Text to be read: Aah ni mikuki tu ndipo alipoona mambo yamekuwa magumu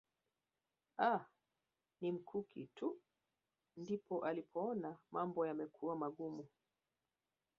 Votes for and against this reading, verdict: 1, 2, rejected